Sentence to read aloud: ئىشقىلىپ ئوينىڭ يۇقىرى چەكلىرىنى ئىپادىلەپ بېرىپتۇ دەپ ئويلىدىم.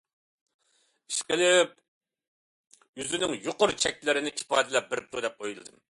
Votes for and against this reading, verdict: 0, 2, rejected